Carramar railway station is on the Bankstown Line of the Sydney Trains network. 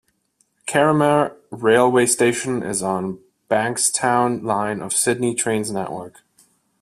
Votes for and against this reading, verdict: 1, 2, rejected